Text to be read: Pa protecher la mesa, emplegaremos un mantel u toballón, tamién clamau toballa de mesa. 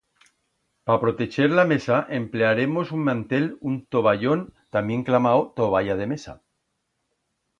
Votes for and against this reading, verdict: 1, 2, rejected